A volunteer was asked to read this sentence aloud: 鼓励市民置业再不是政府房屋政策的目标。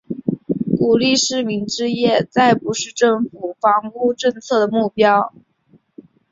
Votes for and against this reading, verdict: 2, 1, accepted